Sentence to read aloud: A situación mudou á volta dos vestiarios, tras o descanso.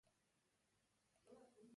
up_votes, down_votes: 0, 2